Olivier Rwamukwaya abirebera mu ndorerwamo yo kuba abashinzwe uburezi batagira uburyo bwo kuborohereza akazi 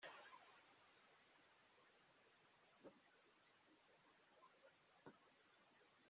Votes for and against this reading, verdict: 0, 2, rejected